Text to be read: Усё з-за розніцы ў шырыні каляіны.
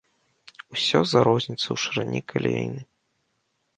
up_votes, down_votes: 2, 0